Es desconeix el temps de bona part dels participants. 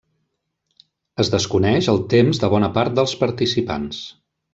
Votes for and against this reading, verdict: 3, 0, accepted